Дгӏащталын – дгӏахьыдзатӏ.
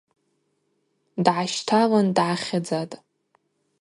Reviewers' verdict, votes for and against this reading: rejected, 0, 2